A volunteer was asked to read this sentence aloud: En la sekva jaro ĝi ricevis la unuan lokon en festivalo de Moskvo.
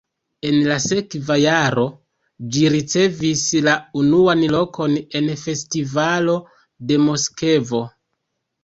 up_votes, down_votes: 1, 2